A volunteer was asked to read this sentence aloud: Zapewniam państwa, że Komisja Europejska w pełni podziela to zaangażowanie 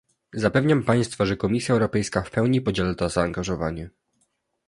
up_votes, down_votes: 2, 0